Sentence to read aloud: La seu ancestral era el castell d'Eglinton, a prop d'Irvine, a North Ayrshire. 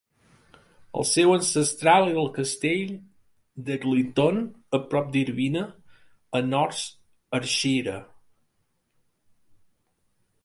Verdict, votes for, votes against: rejected, 1, 2